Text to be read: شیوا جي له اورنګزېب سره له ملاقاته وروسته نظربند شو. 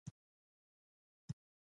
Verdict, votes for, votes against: rejected, 0, 2